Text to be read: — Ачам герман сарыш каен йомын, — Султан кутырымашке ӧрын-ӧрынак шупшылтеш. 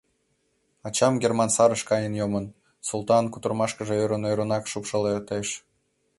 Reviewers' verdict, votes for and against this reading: rejected, 1, 2